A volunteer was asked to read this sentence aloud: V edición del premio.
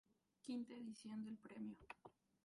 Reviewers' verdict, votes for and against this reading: rejected, 0, 4